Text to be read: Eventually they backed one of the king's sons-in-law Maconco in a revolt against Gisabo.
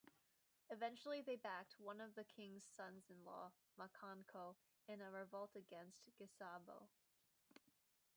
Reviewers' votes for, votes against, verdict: 1, 2, rejected